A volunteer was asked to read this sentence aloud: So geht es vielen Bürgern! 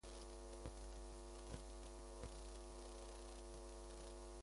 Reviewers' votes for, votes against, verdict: 0, 2, rejected